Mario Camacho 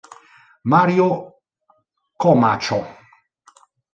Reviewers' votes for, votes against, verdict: 0, 2, rejected